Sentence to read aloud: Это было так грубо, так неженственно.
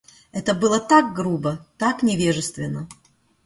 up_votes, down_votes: 0, 2